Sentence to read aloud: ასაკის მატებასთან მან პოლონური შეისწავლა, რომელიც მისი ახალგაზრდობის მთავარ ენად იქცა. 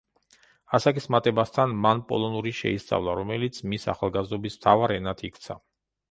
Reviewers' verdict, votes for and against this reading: rejected, 1, 2